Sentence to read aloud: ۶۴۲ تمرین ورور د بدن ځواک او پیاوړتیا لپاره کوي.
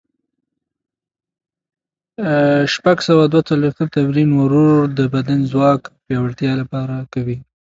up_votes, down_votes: 0, 2